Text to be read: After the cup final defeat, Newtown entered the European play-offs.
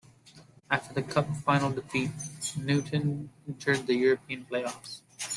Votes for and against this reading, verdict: 2, 1, accepted